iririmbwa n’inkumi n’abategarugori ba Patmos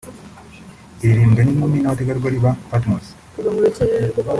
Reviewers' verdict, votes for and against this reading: rejected, 1, 2